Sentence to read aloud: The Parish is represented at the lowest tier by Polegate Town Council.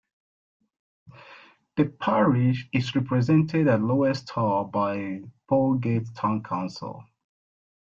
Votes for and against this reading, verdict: 0, 2, rejected